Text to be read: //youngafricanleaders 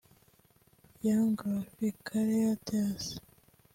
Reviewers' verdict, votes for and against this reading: rejected, 1, 3